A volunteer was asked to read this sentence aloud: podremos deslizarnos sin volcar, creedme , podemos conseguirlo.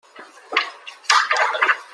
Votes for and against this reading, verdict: 0, 2, rejected